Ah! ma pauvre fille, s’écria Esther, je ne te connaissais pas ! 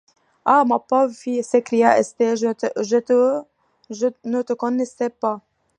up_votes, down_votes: 1, 2